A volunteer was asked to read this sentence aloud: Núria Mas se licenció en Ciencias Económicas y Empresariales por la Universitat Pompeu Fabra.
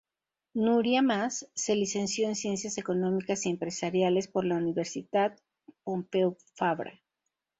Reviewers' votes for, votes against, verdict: 2, 2, rejected